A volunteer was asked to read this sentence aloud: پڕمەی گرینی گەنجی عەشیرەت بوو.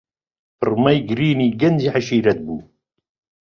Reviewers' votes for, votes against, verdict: 2, 0, accepted